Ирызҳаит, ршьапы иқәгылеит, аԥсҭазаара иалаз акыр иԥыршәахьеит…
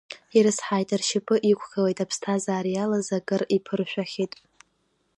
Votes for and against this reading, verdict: 0, 2, rejected